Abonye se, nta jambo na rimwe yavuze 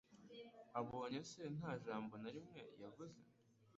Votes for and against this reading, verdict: 2, 0, accepted